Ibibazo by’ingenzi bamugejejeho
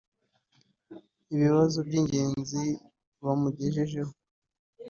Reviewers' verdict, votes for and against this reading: accepted, 2, 1